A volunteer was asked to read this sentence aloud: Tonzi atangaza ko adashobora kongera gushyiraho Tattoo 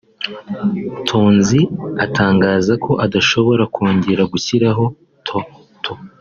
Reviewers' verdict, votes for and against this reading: rejected, 1, 2